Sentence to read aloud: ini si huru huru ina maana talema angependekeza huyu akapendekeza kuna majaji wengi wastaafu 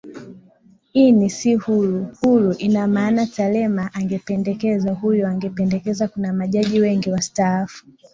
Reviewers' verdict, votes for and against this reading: rejected, 0, 2